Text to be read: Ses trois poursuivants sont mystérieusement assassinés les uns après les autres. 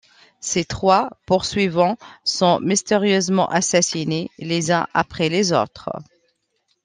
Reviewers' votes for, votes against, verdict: 2, 0, accepted